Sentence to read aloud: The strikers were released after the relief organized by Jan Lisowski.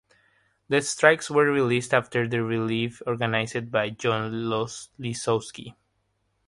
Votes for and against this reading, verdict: 0, 3, rejected